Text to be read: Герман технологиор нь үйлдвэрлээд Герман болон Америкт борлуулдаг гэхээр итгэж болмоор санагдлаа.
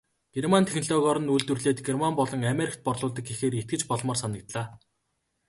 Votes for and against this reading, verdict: 2, 0, accepted